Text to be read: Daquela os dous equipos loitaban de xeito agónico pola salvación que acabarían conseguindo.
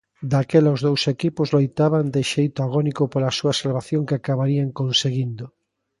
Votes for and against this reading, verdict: 0, 2, rejected